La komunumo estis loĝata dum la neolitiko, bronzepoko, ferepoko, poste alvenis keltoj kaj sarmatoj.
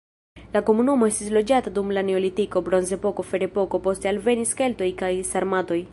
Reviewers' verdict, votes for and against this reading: rejected, 1, 2